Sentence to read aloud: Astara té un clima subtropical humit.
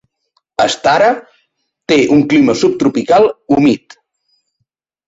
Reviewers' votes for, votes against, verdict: 2, 0, accepted